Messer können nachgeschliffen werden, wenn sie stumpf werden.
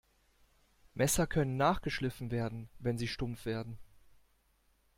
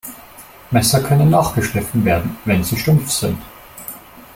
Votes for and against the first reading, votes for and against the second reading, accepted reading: 2, 0, 0, 2, first